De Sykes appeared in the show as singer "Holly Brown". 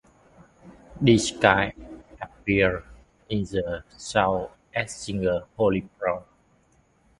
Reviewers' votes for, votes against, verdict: 0, 2, rejected